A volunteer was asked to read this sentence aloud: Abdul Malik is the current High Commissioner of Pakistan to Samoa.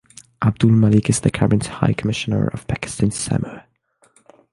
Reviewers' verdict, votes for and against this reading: rejected, 3, 3